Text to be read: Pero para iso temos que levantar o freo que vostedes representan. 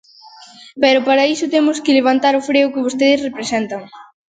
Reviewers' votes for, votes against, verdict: 2, 0, accepted